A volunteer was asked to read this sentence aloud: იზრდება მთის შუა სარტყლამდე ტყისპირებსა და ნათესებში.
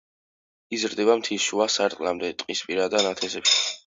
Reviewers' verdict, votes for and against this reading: accepted, 2, 0